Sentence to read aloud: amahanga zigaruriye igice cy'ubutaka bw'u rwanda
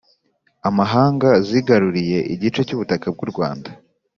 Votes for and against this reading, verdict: 2, 0, accepted